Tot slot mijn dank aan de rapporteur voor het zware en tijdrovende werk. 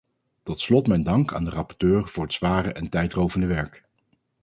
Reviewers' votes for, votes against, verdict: 4, 0, accepted